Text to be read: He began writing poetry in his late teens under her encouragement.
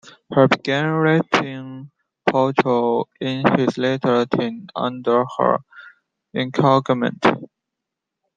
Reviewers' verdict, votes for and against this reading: rejected, 1, 2